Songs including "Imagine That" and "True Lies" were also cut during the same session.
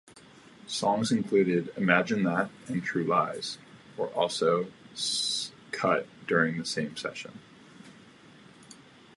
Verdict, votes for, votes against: rejected, 0, 2